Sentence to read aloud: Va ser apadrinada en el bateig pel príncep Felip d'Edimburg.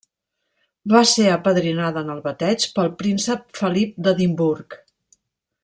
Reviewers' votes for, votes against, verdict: 2, 0, accepted